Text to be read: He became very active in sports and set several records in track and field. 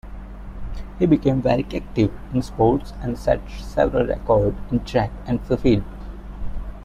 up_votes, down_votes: 1, 2